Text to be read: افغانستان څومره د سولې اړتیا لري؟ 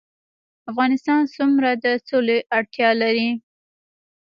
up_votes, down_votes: 1, 2